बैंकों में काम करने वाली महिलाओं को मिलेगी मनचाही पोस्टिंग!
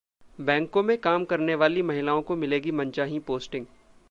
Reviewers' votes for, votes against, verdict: 2, 1, accepted